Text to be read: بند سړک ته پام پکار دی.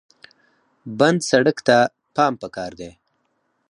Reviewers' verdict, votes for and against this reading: rejected, 0, 4